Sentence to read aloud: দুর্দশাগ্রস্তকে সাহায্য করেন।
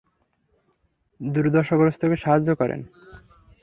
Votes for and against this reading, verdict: 3, 0, accepted